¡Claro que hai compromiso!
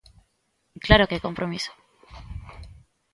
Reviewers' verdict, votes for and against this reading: accepted, 3, 0